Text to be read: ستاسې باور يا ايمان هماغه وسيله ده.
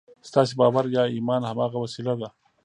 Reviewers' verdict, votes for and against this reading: rejected, 1, 2